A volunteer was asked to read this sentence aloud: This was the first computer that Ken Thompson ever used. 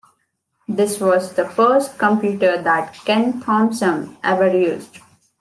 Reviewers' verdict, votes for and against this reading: accepted, 2, 0